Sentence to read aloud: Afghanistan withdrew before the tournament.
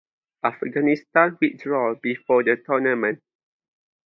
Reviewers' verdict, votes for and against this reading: rejected, 0, 2